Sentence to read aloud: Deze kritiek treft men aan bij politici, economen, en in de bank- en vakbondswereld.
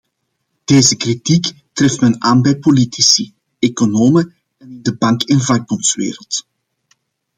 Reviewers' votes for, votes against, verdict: 1, 2, rejected